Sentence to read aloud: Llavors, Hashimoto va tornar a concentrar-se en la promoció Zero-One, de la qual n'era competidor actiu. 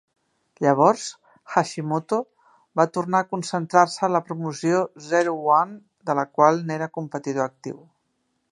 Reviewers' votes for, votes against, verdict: 2, 0, accepted